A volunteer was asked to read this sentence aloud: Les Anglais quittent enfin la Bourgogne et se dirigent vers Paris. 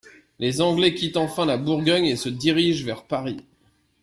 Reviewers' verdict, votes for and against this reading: accepted, 2, 0